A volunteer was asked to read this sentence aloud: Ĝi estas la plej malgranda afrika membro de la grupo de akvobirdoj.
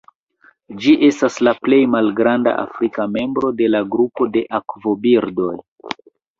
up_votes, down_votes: 1, 2